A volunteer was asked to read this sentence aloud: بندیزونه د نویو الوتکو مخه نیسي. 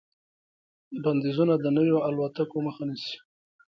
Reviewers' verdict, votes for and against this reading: accepted, 2, 0